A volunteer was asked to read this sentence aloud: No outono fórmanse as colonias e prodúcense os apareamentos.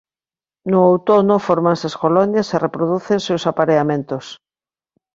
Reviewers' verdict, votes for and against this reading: rejected, 1, 2